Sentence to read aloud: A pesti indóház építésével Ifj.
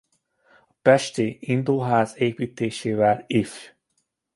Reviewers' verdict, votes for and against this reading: accepted, 2, 0